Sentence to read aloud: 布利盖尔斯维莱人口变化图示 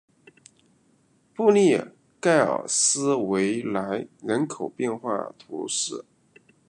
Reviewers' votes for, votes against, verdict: 2, 0, accepted